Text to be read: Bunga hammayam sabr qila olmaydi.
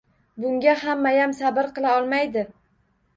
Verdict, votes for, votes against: rejected, 1, 2